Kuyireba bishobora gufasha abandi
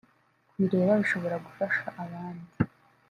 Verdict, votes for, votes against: rejected, 0, 2